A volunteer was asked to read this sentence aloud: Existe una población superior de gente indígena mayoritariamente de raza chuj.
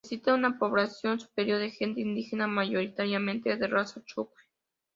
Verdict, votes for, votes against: accepted, 2, 1